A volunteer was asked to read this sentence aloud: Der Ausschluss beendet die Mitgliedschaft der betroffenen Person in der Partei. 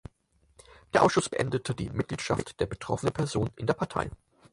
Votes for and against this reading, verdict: 0, 4, rejected